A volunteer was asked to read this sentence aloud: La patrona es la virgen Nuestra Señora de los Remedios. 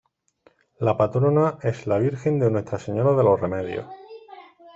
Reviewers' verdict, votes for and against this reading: accepted, 2, 1